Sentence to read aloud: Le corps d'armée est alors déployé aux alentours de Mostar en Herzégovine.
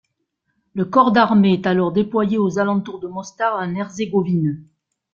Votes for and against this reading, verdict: 2, 0, accepted